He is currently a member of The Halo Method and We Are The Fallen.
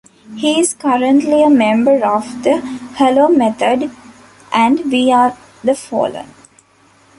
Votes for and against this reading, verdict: 1, 2, rejected